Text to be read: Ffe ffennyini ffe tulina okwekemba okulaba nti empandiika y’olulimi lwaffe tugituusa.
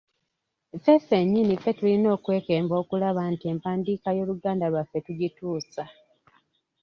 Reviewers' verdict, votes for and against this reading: rejected, 1, 2